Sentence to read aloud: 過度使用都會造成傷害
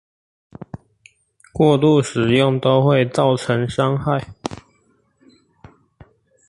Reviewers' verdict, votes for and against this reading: accepted, 4, 0